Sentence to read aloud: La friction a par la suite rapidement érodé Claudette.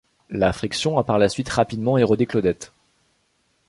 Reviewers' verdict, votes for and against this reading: accepted, 2, 0